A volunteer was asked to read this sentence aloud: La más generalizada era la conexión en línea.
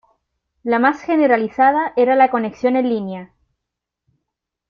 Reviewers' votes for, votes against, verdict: 2, 0, accepted